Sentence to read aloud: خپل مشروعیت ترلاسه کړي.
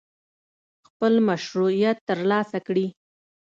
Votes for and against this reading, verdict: 2, 0, accepted